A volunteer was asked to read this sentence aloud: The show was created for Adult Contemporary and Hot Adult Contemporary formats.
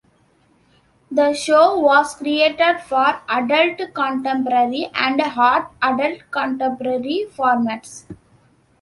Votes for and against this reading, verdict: 0, 2, rejected